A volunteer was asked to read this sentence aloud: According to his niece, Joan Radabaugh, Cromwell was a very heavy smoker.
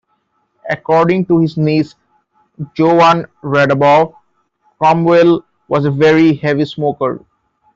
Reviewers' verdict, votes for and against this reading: rejected, 1, 2